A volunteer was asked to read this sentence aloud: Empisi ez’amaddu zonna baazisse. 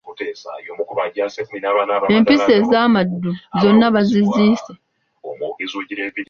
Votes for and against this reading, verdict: 1, 2, rejected